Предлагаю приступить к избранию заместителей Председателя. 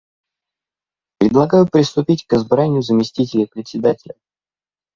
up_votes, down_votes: 1, 2